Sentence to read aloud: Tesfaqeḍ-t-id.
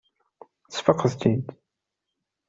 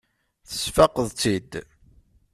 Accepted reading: first